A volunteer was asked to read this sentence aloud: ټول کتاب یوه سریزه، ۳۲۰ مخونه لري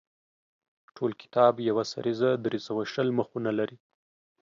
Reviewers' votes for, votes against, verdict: 0, 2, rejected